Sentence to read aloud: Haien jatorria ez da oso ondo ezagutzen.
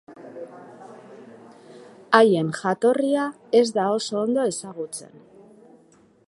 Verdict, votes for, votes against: accepted, 2, 0